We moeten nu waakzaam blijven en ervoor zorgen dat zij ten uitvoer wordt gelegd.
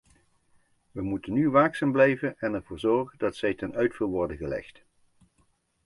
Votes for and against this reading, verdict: 1, 2, rejected